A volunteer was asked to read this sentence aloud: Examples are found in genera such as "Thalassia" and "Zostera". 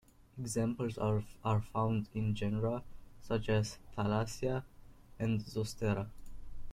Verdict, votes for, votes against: accepted, 2, 0